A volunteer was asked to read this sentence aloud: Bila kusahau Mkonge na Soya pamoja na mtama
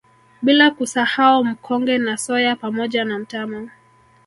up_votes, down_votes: 1, 2